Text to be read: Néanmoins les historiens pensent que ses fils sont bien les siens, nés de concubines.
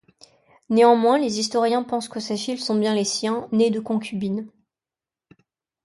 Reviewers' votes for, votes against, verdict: 0, 2, rejected